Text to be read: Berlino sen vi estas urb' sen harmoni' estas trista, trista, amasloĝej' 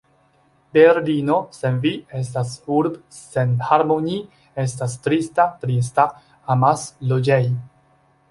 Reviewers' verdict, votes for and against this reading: accepted, 2, 0